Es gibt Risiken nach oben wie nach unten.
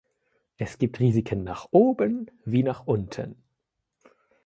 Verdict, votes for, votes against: accepted, 2, 0